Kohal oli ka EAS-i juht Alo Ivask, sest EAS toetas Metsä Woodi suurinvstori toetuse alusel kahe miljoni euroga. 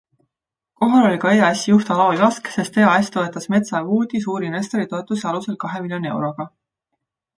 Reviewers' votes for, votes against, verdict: 2, 1, accepted